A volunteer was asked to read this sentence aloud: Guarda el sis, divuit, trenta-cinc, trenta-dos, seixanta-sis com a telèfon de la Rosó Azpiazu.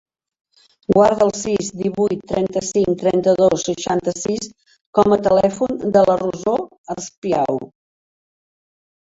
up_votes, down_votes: 2, 4